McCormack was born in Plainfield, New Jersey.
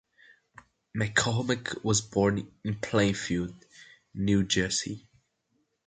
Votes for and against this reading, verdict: 2, 0, accepted